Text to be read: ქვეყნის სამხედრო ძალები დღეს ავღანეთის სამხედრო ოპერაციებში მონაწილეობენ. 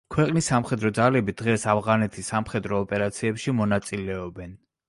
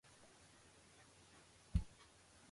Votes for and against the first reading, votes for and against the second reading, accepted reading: 2, 0, 0, 2, first